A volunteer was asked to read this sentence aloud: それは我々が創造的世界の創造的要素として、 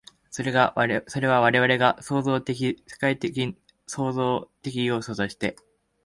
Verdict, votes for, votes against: rejected, 0, 2